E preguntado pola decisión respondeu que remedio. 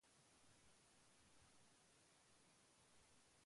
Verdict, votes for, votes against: rejected, 0, 2